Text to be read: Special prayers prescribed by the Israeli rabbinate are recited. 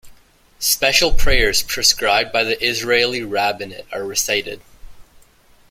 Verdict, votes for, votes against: accepted, 2, 0